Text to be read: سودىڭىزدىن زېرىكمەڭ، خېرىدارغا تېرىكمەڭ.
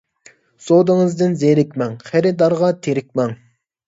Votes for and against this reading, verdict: 2, 0, accepted